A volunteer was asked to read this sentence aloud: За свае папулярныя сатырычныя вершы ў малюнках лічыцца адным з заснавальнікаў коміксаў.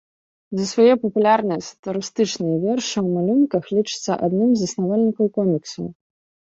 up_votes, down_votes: 1, 2